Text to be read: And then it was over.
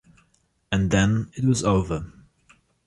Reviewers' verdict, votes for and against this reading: accepted, 2, 0